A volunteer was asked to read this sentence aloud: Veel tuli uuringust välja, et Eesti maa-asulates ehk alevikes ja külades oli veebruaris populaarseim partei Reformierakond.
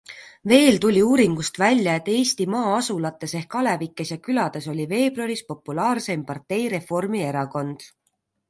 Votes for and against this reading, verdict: 2, 0, accepted